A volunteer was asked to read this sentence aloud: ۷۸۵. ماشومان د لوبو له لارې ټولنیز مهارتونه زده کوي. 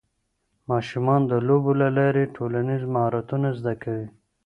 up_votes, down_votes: 0, 2